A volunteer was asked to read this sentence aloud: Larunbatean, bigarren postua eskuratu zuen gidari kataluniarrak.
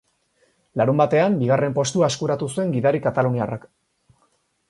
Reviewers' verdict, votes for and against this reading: accepted, 4, 0